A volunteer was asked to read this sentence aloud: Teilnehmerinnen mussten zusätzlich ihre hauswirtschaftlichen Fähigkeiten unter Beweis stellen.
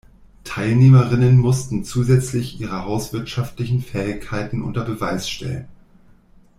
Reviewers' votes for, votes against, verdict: 2, 0, accepted